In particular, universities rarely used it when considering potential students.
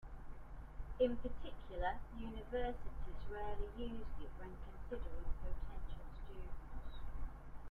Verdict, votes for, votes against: rejected, 0, 3